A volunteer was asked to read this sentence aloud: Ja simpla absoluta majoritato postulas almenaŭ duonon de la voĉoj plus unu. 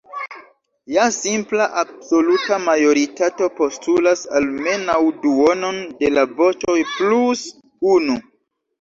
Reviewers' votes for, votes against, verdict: 1, 2, rejected